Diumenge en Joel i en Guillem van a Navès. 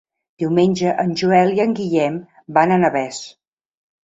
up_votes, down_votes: 2, 0